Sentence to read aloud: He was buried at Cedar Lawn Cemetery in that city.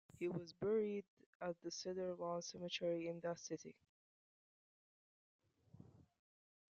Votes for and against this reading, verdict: 0, 2, rejected